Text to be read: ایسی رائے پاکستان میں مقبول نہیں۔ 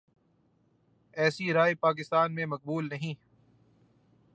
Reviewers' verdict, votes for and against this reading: accepted, 2, 0